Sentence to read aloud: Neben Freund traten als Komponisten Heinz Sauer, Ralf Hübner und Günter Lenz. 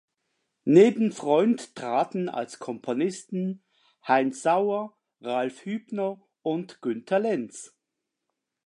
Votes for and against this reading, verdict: 2, 0, accepted